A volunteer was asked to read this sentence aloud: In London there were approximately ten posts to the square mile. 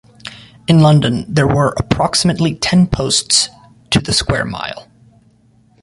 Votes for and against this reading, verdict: 2, 0, accepted